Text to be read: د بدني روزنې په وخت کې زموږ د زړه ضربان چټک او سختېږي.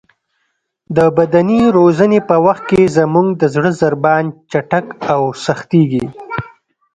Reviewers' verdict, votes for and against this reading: accepted, 2, 0